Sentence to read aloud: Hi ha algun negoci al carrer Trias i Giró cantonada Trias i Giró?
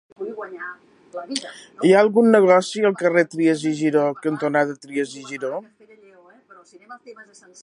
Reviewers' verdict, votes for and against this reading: rejected, 0, 2